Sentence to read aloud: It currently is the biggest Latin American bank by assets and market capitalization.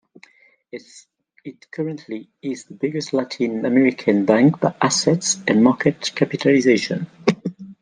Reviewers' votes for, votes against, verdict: 2, 0, accepted